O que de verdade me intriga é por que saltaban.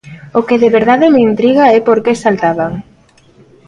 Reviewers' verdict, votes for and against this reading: rejected, 0, 2